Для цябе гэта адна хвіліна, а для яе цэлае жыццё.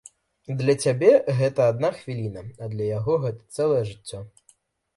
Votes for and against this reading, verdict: 0, 2, rejected